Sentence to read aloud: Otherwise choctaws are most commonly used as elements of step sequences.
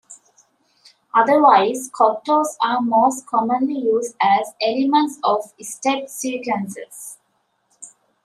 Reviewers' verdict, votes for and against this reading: rejected, 1, 2